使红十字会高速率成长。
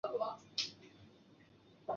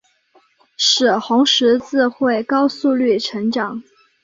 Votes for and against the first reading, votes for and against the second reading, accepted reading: 2, 4, 2, 0, second